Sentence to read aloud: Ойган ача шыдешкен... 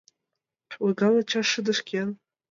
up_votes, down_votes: 2, 0